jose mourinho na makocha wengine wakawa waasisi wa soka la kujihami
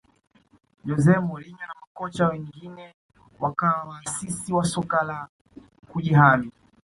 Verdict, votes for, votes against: accepted, 2, 1